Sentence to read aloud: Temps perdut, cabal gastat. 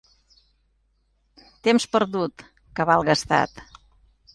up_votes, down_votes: 2, 0